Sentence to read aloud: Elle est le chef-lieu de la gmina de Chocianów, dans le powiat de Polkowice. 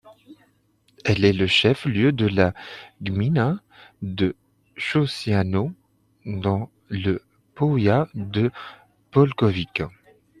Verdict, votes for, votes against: rejected, 0, 2